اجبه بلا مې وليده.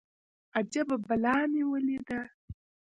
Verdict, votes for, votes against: rejected, 1, 2